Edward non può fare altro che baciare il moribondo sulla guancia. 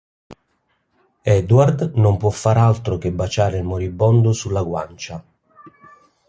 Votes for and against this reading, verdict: 2, 0, accepted